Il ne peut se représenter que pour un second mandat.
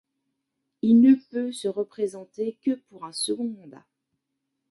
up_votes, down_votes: 1, 2